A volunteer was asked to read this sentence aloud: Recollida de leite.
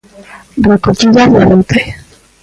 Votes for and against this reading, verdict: 0, 2, rejected